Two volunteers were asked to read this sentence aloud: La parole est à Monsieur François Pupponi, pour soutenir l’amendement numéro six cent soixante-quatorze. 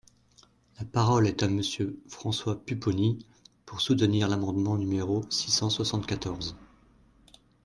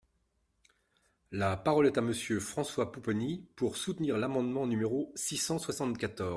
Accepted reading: first